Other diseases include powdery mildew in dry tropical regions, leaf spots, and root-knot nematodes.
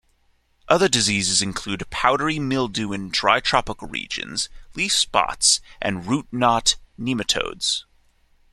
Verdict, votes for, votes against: accepted, 2, 0